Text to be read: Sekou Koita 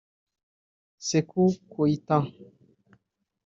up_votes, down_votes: 0, 2